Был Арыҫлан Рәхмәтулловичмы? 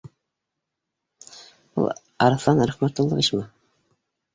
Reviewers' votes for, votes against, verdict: 1, 2, rejected